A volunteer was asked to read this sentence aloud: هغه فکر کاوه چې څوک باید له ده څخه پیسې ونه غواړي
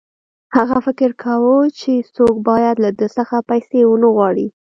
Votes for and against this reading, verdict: 0, 2, rejected